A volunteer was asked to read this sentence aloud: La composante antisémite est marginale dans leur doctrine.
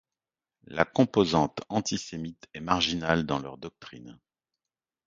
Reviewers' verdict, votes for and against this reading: accepted, 2, 0